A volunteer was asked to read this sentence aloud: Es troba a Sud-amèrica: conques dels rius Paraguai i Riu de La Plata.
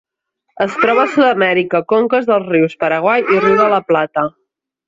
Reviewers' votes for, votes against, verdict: 1, 2, rejected